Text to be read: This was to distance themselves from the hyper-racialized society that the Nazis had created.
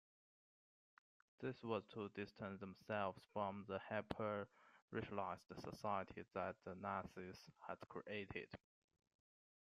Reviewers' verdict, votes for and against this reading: accepted, 2, 0